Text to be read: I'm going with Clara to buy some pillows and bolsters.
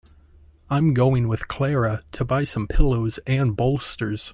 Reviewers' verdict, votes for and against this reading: accepted, 2, 0